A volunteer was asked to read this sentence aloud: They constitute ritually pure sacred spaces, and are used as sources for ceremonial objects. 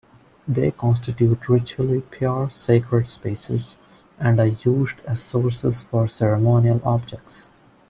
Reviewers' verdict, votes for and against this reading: accepted, 2, 0